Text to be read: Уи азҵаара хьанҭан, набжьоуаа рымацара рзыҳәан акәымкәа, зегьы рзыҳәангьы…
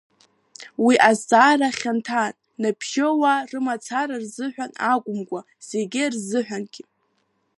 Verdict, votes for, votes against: accepted, 2, 1